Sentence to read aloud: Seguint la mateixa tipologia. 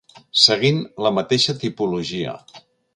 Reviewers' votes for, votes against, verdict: 2, 0, accepted